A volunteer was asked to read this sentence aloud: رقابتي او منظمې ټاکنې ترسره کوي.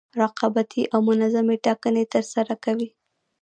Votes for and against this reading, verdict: 0, 2, rejected